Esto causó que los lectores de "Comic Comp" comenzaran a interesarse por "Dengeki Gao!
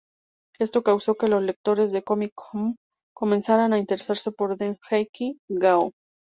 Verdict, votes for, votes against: rejected, 0, 2